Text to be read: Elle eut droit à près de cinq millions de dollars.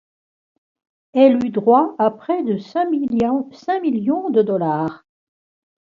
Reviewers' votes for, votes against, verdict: 0, 2, rejected